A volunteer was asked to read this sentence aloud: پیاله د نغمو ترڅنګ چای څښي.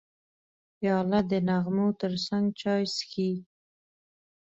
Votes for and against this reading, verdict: 2, 1, accepted